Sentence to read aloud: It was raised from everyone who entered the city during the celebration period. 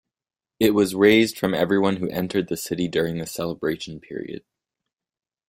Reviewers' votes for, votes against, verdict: 2, 0, accepted